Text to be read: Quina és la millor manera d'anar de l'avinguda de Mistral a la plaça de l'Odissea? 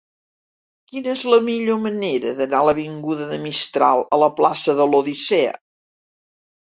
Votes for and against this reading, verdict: 0, 2, rejected